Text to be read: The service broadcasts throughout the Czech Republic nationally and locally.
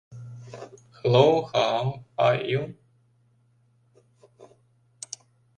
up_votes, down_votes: 0, 2